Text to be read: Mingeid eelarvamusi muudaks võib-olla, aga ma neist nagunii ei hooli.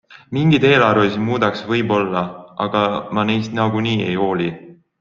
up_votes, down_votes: 3, 1